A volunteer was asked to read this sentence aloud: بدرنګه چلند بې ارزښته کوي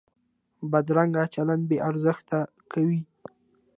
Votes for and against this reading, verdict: 2, 0, accepted